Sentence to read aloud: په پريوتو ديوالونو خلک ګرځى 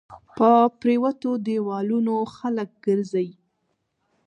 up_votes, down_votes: 1, 2